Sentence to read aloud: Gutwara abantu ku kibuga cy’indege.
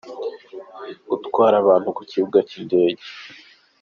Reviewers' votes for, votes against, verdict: 2, 0, accepted